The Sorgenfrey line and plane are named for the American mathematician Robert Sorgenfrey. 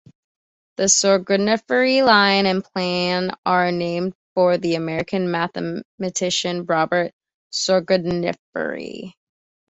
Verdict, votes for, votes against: rejected, 1, 2